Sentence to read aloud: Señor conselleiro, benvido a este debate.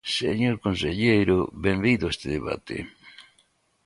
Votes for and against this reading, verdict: 4, 0, accepted